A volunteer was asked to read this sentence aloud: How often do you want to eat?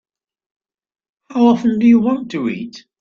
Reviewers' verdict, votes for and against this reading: accepted, 2, 0